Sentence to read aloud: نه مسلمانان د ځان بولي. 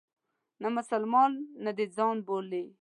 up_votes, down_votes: 1, 2